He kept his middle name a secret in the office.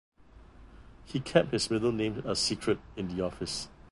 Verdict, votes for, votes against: accepted, 3, 0